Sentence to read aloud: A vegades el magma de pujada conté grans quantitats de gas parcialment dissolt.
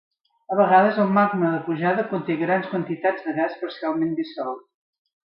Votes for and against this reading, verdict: 2, 0, accepted